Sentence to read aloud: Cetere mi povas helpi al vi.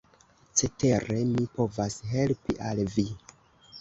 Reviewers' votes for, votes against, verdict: 2, 1, accepted